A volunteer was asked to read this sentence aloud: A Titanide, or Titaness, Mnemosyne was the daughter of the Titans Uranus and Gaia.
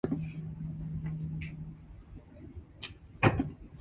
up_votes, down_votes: 0, 2